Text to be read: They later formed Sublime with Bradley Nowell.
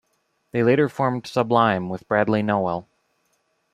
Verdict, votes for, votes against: accepted, 2, 0